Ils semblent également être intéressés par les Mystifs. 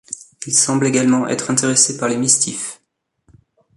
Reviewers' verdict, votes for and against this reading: rejected, 1, 2